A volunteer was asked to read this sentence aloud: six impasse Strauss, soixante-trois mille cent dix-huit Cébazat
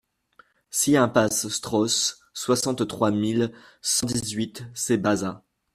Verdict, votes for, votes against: rejected, 1, 2